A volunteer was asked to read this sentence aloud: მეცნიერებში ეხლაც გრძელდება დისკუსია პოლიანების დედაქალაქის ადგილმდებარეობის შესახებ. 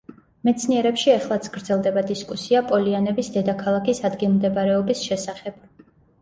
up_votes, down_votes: 2, 0